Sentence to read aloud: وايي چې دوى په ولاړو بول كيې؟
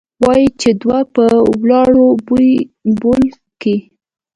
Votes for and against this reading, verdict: 1, 2, rejected